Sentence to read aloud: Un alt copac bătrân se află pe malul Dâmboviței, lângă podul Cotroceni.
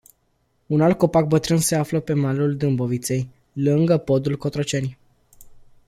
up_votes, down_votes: 2, 0